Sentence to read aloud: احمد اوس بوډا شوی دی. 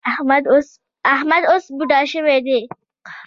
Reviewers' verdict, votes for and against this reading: accepted, 2, 0